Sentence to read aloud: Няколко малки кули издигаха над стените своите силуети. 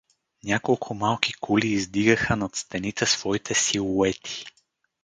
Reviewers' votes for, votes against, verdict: 2, 2, rejected